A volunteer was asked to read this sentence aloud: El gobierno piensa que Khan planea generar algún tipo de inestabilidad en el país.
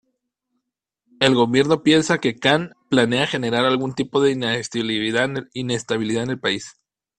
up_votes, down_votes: 0, 2